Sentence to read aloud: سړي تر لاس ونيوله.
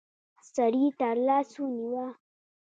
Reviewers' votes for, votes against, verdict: 0, 2, rejected